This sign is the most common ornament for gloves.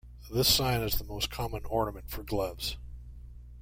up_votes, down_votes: 2, 0